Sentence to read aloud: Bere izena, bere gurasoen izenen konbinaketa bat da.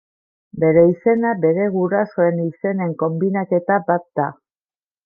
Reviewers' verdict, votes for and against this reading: accepted, 2, 0